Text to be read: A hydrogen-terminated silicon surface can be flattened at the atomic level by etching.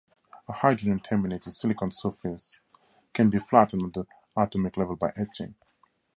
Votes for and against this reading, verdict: 2, 0, accepted